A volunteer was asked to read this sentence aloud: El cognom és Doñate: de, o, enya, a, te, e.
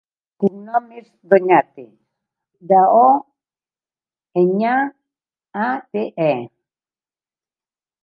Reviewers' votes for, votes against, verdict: 1, 2, rejected